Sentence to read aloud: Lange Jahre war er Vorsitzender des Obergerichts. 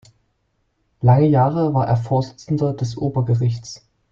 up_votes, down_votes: 0, 2